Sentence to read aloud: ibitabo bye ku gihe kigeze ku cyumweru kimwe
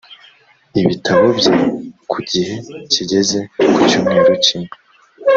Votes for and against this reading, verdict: 2, 0, accepted